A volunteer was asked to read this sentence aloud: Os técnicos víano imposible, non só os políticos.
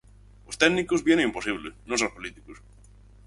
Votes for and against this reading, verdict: 4, 0, accepted